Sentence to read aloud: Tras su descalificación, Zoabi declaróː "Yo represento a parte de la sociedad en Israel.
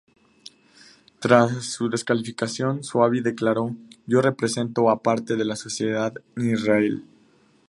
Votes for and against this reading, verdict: 4, 0, accepted